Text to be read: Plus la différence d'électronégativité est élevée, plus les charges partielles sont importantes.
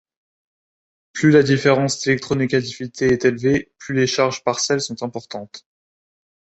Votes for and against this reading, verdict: 2, 0, accepted